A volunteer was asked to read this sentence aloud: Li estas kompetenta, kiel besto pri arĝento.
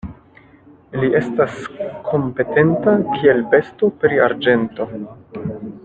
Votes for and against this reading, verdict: 2, 0, accepted